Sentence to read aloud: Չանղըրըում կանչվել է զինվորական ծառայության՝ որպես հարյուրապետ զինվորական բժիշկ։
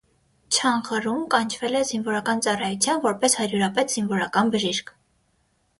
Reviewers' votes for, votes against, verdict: 3, 6, rejected